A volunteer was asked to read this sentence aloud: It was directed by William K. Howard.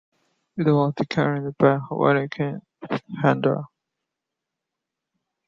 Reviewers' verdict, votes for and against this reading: rejected, 0, 2